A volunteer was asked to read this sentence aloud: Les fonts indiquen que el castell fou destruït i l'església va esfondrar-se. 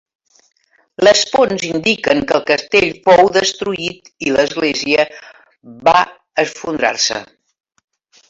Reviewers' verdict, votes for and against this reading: rejected, 1, 2